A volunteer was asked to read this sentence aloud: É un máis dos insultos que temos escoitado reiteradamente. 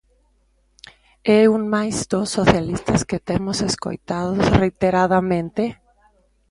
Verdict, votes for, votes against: rejected, 0, 2